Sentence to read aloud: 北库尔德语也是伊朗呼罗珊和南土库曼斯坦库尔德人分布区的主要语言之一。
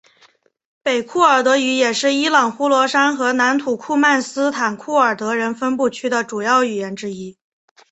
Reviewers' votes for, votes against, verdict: 2, 0, accepted